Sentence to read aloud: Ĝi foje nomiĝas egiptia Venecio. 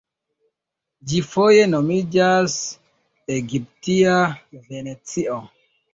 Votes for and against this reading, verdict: 0, 2, rejected